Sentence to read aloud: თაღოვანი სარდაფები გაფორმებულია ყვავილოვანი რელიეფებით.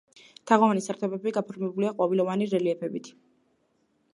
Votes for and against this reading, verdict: 2, 0, accepted